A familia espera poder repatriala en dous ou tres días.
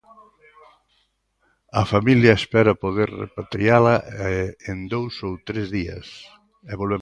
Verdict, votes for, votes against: rejected, 0, 2